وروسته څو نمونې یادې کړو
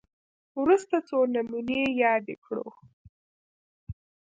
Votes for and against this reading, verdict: 1, 2, rejected